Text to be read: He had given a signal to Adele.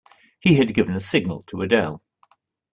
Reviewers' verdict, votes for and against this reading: accepted, 2, 0